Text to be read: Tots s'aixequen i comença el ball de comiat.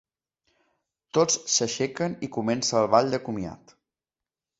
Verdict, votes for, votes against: accepted, 2, 0